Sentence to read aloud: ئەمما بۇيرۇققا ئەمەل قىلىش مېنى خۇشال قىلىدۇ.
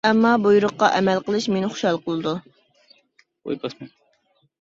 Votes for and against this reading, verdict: 1, 2, rejected